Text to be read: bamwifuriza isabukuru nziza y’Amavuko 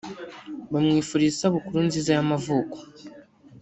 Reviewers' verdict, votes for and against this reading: rejected, 0, 2